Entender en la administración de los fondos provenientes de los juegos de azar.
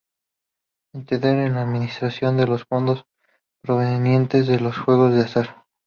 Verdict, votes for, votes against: rejected, 0, 2